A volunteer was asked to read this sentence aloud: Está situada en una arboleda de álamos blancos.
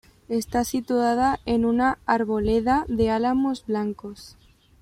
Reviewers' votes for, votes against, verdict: 2, 0, accepted